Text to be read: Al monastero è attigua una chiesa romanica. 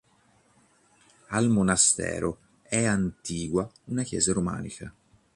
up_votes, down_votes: 2, 3